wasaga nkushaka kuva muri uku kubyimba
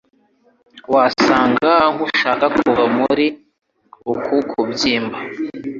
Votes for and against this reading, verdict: 2, 0, accepted